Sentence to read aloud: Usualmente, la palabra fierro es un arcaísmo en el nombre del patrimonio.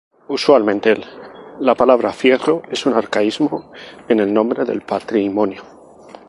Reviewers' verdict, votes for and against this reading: accepted, 4, 0